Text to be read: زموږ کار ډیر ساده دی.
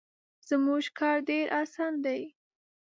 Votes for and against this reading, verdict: 0, 2, rejected